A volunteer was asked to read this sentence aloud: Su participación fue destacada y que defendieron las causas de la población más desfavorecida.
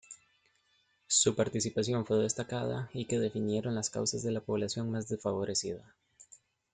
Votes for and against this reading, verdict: 2, 1, accepted